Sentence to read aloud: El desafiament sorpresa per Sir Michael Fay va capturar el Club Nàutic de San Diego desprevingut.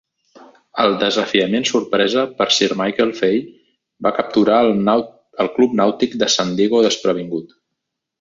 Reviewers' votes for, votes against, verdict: 1, 2, rejected